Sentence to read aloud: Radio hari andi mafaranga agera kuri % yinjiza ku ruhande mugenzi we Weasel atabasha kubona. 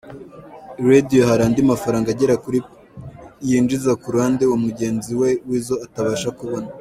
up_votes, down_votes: 2, 1